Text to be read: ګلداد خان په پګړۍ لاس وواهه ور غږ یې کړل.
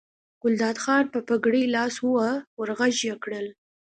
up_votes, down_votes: 2, 0